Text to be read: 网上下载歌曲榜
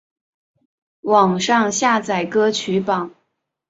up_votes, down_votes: 3, 0